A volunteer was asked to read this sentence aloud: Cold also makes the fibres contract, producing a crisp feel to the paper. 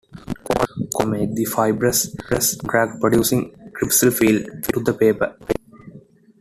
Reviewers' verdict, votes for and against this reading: rejected, 0, 2